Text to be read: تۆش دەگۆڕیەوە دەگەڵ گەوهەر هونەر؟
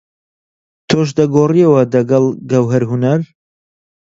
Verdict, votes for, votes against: accepted, 2, 0